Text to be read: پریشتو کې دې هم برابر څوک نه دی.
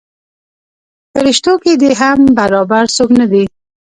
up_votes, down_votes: 1, 2